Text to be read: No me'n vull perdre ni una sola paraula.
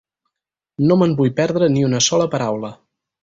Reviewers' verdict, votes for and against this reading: accepted, 4, 0